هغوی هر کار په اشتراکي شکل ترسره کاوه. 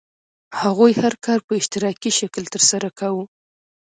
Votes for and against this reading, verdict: 2, 0, accepted